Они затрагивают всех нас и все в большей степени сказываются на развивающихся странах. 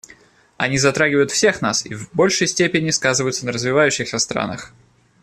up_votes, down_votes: 1, 2